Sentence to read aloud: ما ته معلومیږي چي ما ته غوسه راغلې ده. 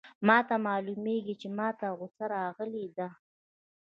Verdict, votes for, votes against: rejected, 1, 2